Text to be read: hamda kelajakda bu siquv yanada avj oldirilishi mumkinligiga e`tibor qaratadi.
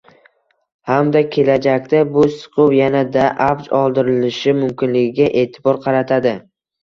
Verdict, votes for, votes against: rejected, 0, 2